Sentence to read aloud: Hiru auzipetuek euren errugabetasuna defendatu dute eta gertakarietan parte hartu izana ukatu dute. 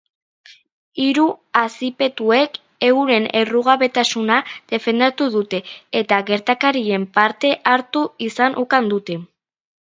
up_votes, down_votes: 0, 2